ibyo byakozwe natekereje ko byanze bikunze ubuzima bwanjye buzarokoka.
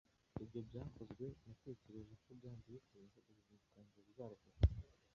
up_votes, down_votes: 1, 2